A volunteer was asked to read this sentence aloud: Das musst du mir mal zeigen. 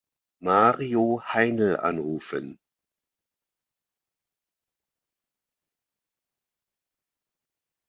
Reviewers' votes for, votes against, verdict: 0, 2, rejected